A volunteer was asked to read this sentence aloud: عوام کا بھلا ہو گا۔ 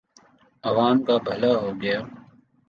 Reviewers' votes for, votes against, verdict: 0, 2, rejected